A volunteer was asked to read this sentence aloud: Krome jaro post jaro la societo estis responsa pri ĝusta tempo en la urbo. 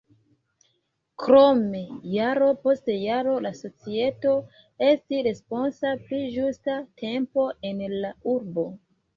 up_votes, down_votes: 1, 2